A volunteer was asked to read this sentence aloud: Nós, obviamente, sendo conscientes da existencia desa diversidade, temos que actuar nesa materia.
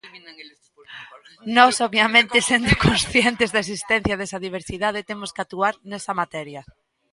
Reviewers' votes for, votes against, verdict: 0, 2, rejected